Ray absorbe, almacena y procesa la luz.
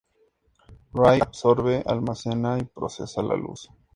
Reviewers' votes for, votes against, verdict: 2, 0, accepted